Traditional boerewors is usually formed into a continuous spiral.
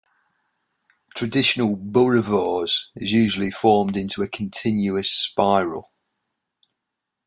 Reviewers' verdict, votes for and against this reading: accepted, 2, 0